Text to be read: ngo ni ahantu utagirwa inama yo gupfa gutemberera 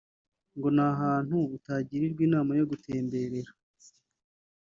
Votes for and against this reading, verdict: 0, 2, rejected